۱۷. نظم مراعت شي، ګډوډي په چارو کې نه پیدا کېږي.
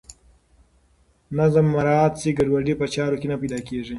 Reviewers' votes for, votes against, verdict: 0, 2, rejected